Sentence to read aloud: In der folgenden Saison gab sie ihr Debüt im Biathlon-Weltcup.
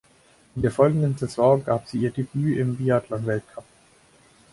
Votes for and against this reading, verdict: 2, 6, rejected